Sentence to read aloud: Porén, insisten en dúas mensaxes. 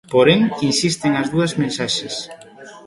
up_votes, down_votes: 0, 2